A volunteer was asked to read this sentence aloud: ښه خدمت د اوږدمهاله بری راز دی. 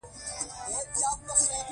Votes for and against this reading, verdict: 2, 0, accepted